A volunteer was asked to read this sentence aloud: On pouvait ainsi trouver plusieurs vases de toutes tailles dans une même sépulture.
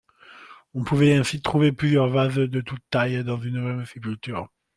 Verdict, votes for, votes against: accepted, 2, 0